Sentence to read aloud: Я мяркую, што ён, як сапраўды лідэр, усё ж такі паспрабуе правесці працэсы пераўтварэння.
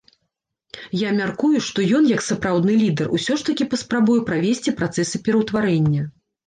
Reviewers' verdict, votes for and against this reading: rejected, 1, 2